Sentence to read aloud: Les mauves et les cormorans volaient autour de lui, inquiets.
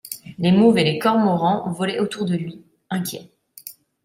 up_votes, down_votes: 2, 0